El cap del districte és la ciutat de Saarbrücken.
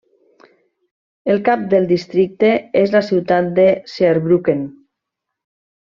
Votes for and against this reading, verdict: 1, 2, rejected